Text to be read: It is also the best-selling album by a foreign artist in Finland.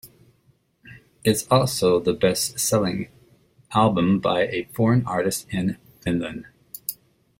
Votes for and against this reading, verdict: 2, 0, accepted